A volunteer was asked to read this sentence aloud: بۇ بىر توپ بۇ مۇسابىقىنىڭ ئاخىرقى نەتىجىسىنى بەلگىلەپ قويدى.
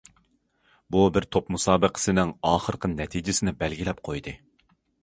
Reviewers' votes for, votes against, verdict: 1, 2, rejected